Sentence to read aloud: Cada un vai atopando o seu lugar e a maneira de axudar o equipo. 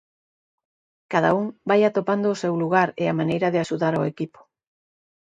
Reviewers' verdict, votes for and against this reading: accepted, 2, 0